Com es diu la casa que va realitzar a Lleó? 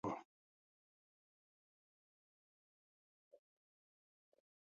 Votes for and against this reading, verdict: 0, 2, rejected